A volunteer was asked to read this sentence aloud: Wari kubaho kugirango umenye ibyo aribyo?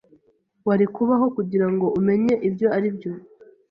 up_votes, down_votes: 2, 0